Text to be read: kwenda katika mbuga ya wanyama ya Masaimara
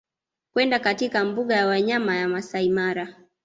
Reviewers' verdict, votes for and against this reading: accepted, 2, 0